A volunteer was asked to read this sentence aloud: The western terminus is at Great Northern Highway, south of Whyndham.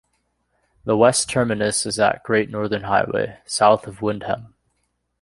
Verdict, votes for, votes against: rejected, 1, 2